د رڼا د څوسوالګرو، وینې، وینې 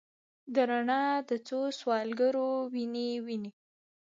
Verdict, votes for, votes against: accepted, 2, 0